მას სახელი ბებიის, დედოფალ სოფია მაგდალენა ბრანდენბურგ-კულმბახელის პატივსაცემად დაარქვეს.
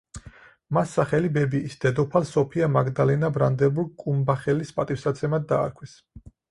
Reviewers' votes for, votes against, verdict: 0, 4, rejected